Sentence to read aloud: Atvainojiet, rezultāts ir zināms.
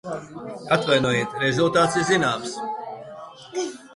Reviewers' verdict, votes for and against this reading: rejected, 0, 2